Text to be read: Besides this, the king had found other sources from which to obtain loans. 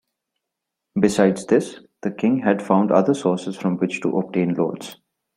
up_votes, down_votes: 2, 0